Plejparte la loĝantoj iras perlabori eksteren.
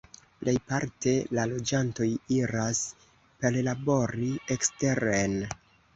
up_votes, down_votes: 1, 2